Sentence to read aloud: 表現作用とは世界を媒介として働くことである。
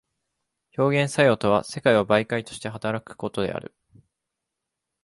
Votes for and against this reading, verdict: 2, 0, accepted